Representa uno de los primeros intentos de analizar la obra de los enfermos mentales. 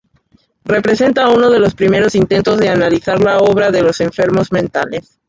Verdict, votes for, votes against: rejected, 0, 2